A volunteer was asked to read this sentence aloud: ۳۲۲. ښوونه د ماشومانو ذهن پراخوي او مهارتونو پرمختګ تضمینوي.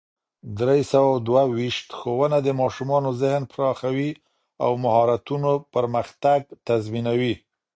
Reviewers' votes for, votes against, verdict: 0, 2, rejected